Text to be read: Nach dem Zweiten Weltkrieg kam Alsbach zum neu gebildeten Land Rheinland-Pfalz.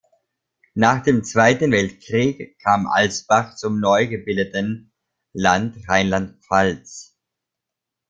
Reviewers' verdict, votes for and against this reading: accepted, 2, 0